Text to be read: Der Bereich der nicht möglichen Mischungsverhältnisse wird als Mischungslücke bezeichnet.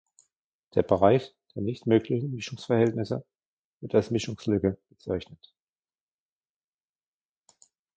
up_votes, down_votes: 2, 1